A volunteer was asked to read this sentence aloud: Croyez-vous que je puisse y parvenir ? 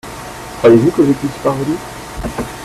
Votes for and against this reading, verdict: 0, 2, rejected